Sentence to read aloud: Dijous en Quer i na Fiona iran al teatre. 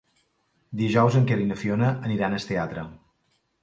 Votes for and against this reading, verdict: 1, 2, rejected